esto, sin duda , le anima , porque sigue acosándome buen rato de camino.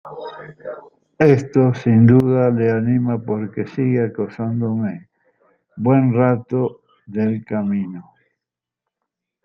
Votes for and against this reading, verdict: 1, 2, rejected